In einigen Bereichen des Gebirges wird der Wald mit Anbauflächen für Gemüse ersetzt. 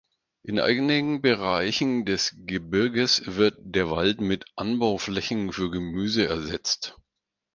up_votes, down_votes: 0, 4